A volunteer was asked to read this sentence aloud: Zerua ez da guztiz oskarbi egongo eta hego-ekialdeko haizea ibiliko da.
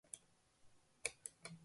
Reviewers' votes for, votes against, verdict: 0, 2, rejected